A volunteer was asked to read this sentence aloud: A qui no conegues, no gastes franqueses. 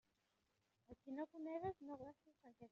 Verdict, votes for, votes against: rejected, 0, 2